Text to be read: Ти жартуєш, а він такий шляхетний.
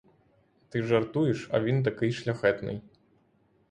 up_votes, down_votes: 6, 0